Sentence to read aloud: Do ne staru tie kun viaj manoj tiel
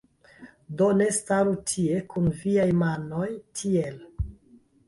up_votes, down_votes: 1, 2